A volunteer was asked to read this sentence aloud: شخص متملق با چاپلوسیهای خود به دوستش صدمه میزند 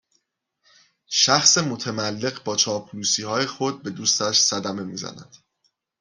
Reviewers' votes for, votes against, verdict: 2, 0, accepted